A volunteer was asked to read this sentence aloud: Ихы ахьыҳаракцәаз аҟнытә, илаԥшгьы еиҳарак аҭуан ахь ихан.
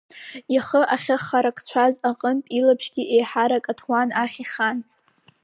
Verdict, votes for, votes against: rejected, 3, 4